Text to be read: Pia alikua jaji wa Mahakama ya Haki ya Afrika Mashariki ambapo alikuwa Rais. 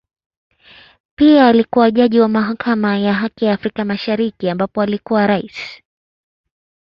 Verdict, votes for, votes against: accepted, 2, 0